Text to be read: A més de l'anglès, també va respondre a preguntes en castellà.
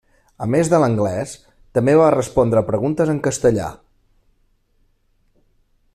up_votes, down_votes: 3, 0